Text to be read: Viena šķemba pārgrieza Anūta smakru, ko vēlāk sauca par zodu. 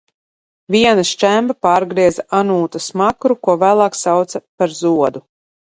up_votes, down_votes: 2, 0